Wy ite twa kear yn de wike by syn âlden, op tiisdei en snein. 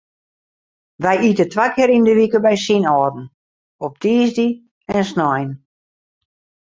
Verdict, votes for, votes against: accepted, 2, 0